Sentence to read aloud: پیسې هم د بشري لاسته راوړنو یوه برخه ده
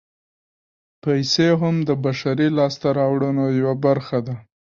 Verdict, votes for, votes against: accepted, 2, 1